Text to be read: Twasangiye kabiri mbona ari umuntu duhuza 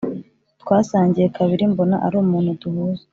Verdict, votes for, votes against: accepted, 3, 0